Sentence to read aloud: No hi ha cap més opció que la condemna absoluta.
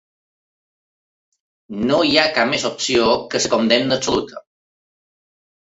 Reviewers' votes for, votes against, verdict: 1, 2, rejected